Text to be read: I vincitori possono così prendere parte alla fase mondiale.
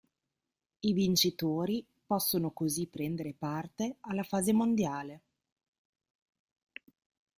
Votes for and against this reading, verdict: 2, 0, accepted